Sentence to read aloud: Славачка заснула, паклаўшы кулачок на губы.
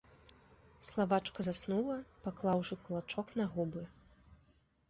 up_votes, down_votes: 2, 0